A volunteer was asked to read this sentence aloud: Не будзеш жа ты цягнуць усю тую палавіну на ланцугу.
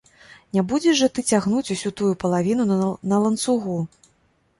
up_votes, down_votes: 0, 2